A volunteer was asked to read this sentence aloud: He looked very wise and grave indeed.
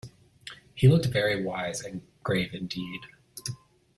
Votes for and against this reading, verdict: 2, 1, accepted